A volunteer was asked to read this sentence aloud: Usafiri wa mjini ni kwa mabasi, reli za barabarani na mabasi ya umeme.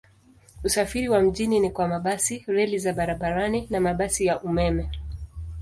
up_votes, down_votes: 2, 1